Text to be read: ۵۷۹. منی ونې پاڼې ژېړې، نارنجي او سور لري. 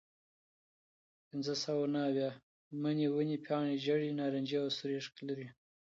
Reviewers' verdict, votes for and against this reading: rejected, 0, 2